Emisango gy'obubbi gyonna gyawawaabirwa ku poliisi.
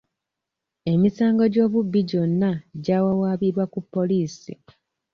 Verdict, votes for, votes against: accepted, 2, 0